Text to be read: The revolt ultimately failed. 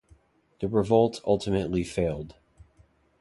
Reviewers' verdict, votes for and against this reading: accepted, 2, 0